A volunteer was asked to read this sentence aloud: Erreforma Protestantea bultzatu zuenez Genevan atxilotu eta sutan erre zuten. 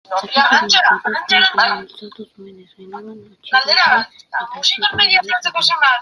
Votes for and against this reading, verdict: 0, 2, rejected